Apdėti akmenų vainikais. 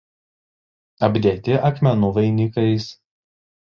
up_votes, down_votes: 2, 0